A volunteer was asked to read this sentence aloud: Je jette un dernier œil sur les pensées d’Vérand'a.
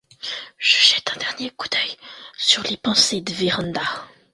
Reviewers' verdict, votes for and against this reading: rejected, 0, 2